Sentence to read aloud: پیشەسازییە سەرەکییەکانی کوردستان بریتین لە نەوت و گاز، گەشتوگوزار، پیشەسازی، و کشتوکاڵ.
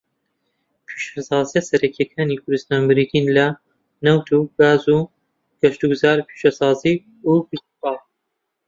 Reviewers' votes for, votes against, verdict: 0, 2, rejected